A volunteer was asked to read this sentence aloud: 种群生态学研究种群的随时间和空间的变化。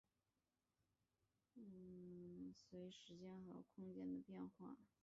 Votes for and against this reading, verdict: 0, 5, rejected